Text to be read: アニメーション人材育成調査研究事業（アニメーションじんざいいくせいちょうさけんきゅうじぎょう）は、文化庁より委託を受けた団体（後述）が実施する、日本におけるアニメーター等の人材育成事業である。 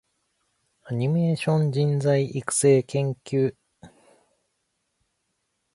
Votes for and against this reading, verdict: 0, 2, rejected